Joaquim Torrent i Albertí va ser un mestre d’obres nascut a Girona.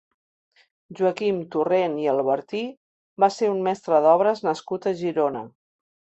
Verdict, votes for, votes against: accepted, 3, 0